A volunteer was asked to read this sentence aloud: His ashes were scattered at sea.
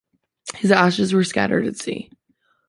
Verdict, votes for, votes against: accepted, 2, 0